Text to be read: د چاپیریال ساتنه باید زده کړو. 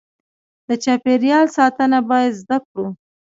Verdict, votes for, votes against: accepted, 2, 0